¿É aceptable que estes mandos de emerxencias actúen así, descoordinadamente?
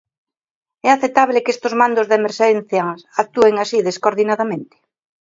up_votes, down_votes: 2, 0